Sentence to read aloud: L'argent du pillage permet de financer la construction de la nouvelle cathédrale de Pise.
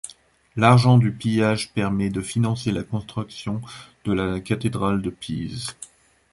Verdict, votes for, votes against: rejected, 1, 2